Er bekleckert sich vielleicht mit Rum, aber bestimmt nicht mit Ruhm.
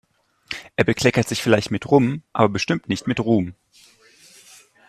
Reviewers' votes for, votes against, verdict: 2, 0, accepted